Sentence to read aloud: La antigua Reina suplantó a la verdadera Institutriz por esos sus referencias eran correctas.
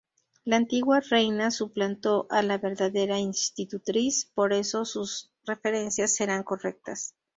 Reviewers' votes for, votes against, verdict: 0, 2, rejected